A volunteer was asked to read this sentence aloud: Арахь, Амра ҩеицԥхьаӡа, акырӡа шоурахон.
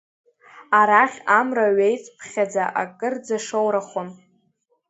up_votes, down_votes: 2, 0